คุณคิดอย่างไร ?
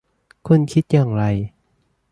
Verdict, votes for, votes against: accepted, 2, 0